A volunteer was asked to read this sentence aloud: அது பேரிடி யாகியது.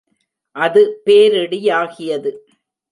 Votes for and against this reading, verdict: 3, 0, accepted